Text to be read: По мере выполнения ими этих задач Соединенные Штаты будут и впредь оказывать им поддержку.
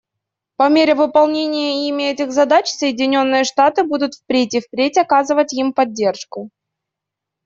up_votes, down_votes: 0, 2